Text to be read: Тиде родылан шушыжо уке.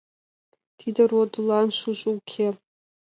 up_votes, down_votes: 2, 1